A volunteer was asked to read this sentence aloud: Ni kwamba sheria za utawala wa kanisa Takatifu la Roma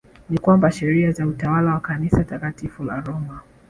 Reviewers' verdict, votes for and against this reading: accepted, 2, 1